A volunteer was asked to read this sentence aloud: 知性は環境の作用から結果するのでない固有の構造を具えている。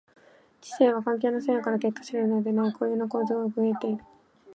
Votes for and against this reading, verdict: 1, 2, rejected